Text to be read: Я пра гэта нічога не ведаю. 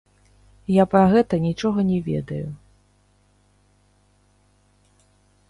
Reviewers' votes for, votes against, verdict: 0, 2, rejected